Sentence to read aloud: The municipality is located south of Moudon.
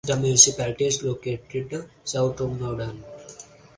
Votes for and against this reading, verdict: 4, 0, accepted